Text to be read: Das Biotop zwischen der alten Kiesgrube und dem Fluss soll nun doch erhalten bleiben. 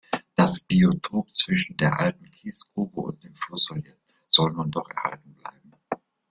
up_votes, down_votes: 0, 2